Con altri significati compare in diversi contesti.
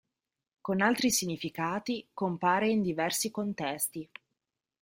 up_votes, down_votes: 2, 0